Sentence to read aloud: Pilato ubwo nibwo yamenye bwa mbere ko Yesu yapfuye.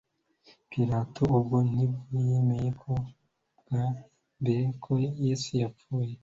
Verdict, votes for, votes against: rejected, 0, 2